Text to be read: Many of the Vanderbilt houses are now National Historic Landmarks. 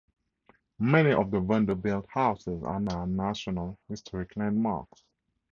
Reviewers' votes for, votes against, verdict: 2, 0, accepted